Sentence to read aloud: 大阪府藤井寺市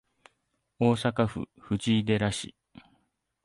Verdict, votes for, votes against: accepted, 2, 0